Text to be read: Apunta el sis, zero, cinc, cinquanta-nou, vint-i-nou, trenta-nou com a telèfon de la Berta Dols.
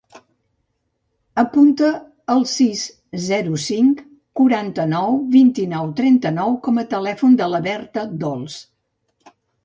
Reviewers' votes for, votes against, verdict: 0, 2, rejected